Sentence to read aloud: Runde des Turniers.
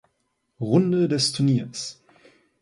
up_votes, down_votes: 2, 0